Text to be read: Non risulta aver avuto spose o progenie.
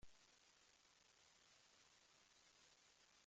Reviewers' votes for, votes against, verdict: 0, 2, rejected